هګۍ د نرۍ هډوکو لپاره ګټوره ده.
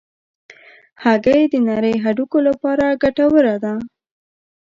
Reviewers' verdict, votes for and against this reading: accepted, 2, 0